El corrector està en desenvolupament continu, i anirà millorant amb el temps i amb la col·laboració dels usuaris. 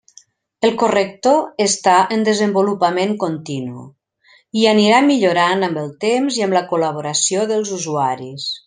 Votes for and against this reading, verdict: 3, 0, accepted